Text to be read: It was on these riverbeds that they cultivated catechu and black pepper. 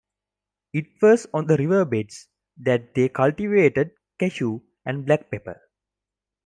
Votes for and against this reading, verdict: 1, 2, rejected